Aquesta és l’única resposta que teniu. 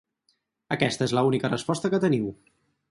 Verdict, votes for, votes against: rejected, 2, 2